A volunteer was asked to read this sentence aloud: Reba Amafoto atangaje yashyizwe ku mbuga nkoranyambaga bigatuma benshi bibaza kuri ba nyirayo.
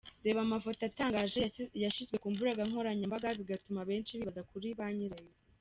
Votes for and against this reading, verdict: 1, 2, rejected